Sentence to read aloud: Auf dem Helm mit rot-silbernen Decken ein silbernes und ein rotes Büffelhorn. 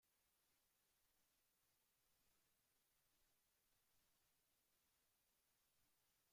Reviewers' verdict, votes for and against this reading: rejected, 1, 2